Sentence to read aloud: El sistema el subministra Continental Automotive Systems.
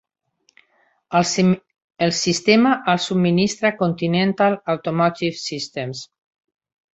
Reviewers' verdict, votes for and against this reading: rejected, 0, 2